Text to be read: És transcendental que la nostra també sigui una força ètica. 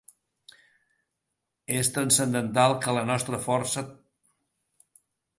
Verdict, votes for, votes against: rejected, 0, 2